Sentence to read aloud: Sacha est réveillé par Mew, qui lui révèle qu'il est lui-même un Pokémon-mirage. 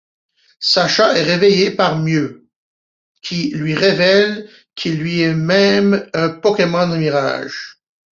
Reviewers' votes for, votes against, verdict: 0, 2, rejected